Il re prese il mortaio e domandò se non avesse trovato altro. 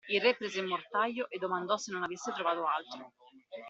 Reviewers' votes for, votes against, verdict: 1, 2, rejected